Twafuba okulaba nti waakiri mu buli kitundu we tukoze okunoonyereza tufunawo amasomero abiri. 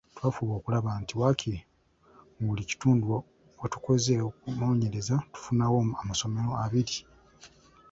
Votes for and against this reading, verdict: 2, 0, accepted